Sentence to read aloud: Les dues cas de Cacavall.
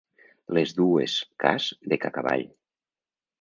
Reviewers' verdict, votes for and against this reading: accepted, 3, 0